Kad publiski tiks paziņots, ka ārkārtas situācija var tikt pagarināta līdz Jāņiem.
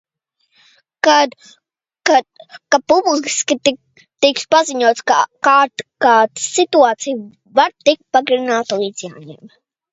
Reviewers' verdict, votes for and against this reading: rejected, 0, 2